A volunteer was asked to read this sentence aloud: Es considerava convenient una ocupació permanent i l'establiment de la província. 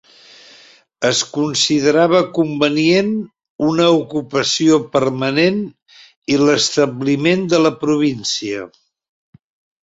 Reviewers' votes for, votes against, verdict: 5, 0, accepted